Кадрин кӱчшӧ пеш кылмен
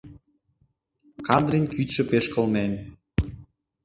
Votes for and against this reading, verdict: 0, 2, rejected